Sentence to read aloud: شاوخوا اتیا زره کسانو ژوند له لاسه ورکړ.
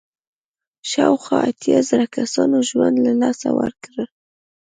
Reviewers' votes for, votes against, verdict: 2, 0, accepted